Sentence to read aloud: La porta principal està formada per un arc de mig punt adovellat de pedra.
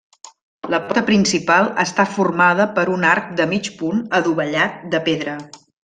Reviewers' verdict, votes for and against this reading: rejected, 0, 2